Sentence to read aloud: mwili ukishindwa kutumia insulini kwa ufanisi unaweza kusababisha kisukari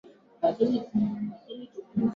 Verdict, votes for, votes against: rejected, 0, 2